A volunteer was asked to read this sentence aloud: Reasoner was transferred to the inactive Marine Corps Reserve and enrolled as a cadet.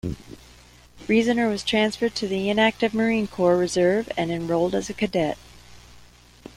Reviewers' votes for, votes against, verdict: 0, 2, rejected